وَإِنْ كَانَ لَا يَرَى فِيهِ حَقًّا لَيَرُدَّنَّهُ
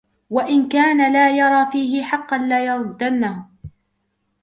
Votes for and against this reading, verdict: 3, 1, accepted